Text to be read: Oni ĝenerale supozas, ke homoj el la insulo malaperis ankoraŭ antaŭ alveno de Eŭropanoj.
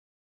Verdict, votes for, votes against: rejected, 1, 3